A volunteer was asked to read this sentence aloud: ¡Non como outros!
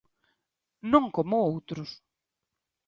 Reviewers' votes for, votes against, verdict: 2, 0, accepted